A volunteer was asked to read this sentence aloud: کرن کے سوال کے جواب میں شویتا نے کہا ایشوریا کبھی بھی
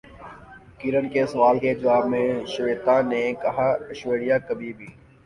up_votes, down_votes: 2, 3